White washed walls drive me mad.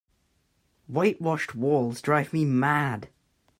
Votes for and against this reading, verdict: 2, 0, accepted